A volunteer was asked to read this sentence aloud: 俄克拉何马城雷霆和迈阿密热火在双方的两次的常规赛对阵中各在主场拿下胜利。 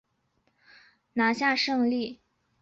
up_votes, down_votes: 0, 4